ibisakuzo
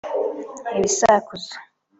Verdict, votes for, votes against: accepted, 2, 0